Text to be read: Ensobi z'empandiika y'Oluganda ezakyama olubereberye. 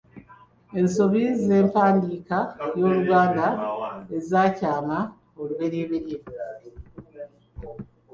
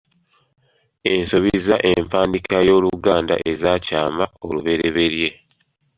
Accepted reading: first